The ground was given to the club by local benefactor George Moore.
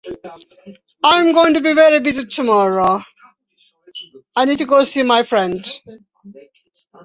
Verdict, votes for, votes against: rejected, 0, 2